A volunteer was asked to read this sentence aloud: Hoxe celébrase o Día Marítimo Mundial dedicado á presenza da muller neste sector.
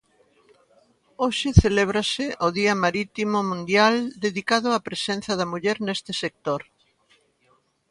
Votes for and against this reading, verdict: 2, 0, accepted